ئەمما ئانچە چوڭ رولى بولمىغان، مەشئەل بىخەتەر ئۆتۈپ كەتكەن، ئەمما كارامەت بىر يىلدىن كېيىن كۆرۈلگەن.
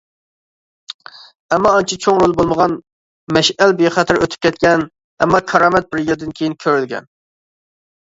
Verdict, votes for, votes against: accepted, 2, 1